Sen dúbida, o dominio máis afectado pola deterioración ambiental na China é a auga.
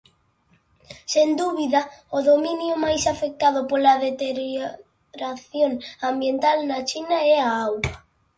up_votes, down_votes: 0, 2